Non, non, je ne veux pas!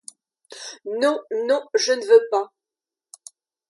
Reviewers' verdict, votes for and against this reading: accepted, 2, 0